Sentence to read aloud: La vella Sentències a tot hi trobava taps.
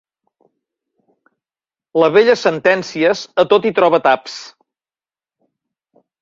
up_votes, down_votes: 2, 3